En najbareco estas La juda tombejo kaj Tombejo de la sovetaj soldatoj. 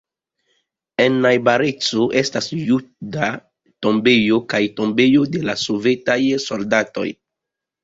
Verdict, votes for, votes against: rejected, 1, 2